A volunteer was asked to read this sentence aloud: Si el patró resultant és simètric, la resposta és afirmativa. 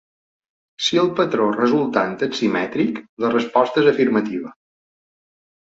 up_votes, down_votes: 2, 0